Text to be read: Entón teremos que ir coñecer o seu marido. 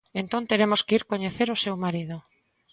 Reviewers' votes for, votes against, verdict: 2, 0, accepted